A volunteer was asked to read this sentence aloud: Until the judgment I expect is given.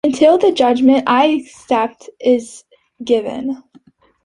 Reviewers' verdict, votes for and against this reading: rejected, 1, 3